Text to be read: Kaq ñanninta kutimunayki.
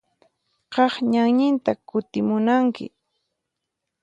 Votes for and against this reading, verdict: 0, 4, rejected